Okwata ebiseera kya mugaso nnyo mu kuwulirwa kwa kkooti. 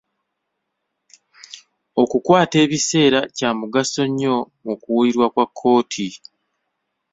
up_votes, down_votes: 0, 2